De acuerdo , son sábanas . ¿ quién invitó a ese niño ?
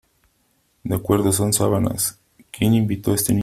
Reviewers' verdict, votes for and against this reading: rejected, 0, 2